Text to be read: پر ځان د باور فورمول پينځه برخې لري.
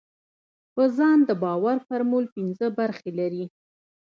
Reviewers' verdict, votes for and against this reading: rejected, 0, 2